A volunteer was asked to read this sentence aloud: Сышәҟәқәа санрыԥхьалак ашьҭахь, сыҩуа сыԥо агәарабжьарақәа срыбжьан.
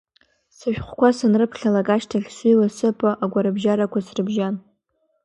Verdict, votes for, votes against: accepted, 2, 0